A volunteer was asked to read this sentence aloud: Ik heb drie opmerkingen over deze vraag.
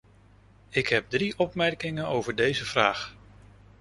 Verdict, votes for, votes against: accepted, 2, 0